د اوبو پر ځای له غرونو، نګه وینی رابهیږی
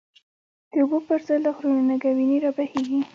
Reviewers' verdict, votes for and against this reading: accepted, 2, 0